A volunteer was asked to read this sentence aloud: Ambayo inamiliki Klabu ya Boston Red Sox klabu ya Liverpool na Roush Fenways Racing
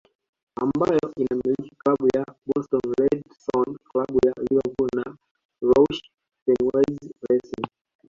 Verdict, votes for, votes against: accepted, 2, 1